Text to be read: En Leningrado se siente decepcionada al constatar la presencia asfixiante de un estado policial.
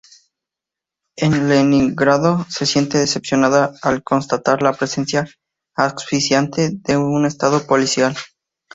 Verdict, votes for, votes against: accepted, 2, 0